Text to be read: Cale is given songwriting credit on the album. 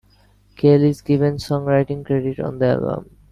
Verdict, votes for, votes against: accepted, 2, 1